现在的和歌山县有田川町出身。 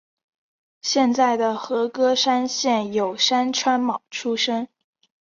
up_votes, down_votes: 0, 4